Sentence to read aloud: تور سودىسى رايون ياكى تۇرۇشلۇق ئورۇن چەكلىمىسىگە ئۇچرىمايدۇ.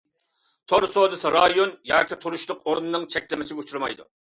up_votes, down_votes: 1, 2